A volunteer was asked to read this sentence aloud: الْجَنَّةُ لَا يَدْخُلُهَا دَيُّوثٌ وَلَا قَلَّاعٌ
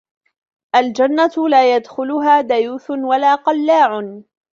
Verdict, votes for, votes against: accepted, 2, 1